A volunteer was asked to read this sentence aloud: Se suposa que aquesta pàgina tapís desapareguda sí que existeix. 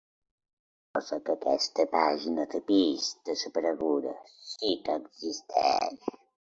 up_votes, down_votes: 0, 2